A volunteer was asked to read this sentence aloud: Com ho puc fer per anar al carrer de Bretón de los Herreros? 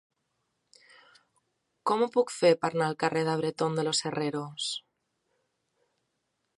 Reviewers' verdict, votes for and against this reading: rejected, 1, 2